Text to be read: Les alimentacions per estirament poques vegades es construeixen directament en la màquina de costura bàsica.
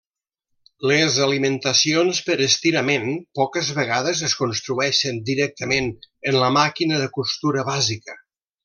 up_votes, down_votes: 3, 0